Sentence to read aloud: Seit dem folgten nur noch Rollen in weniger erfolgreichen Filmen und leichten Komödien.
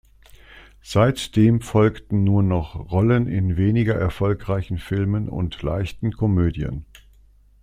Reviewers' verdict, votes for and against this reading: accepted, 2, 0